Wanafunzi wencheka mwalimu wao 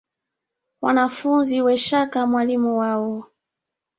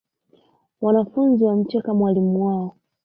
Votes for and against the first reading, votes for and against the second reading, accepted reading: 2, 1, 0, 2, first